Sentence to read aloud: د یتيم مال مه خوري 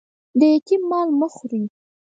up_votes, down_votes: 4, 0